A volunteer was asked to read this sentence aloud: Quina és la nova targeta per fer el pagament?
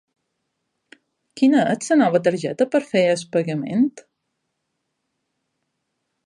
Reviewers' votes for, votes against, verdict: 2, 3, rejected